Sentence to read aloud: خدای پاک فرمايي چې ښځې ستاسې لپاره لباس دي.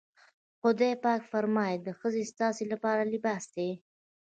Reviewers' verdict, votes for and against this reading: accepted, 2, 1